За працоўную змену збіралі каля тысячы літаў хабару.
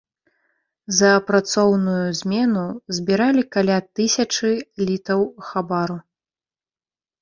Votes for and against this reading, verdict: 1, 2, rejected